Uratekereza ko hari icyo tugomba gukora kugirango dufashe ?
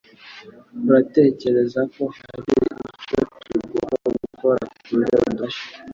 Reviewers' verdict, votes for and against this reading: rejected, 1, 2